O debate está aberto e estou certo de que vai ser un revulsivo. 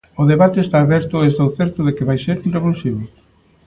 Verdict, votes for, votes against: accepted, 2, 0